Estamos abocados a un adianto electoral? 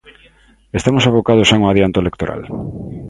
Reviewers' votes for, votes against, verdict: 2, 0, accepted